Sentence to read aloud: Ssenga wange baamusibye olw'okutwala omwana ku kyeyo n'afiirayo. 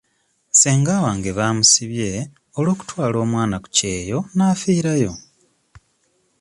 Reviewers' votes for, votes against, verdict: 2, 0, accepted